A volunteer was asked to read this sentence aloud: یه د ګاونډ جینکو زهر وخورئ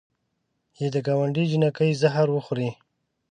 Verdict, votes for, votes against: rejected, 1, 2